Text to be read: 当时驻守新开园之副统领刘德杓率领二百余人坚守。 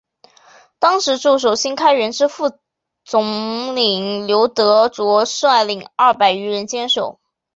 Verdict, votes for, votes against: accepted, 2, 1